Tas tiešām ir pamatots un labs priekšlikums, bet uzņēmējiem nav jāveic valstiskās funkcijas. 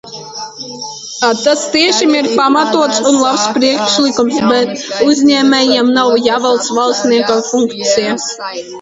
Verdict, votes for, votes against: rejected, 0, 2